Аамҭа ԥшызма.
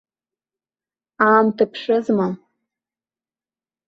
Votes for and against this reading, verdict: 2, 1, accepted